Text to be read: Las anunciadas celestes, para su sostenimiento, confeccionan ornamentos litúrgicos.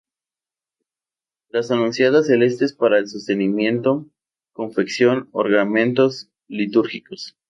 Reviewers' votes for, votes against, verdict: 0, 2, rejected